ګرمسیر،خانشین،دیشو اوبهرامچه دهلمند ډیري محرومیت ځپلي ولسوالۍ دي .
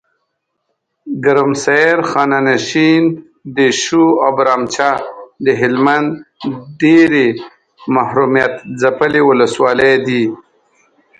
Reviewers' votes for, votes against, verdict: 1, 2, rejected